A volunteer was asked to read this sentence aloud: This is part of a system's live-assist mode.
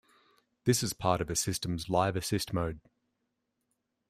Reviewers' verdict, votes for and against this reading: accepted, 2, 0